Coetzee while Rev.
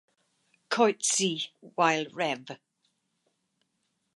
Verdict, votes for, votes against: accepted, 4, 0